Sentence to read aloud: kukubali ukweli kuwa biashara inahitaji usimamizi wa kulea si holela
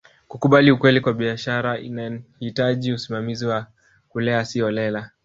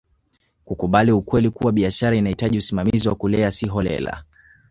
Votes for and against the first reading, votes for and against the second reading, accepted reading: 0, 2, 7, 0, second